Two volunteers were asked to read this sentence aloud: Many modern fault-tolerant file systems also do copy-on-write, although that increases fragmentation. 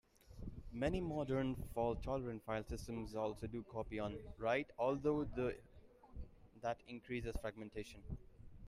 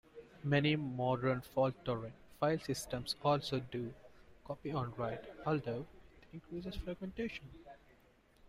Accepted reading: second